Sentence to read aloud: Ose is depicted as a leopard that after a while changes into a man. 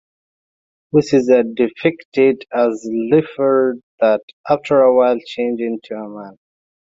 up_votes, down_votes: 0, 2